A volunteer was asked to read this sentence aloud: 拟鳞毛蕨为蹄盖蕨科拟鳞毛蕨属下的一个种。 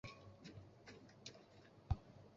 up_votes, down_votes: 0, 5